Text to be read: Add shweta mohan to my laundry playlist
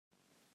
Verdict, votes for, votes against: rejected, 0, 2